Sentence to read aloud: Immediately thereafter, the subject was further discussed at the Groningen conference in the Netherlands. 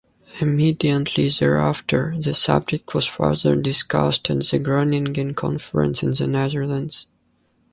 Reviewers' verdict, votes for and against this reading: rejected, 0, 2